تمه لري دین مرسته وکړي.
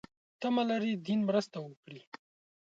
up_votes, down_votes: 2, 0